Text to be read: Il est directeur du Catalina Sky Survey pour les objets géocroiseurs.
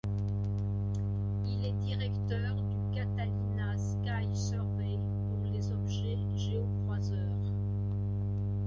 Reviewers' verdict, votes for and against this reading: rejected, 1, 2